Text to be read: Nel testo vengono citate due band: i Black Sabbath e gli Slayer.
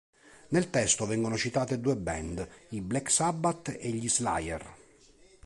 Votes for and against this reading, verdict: 2, 0, accepted